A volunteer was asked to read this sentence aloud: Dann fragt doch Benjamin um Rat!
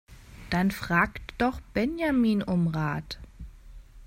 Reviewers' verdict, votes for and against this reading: accepted, 2, 0